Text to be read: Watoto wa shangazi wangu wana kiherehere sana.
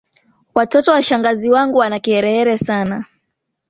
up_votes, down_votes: 0, 2